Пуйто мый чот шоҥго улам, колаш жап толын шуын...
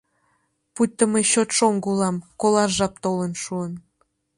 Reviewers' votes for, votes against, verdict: 2, 0, accepted